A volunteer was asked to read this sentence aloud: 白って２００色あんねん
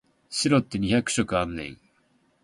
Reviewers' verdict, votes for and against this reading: rejected, 0, 2